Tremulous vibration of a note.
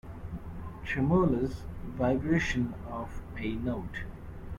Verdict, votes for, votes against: accepted, 2, 0